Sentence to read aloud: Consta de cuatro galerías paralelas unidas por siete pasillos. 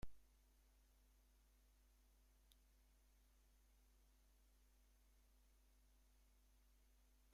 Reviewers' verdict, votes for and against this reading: rejected, 0, 2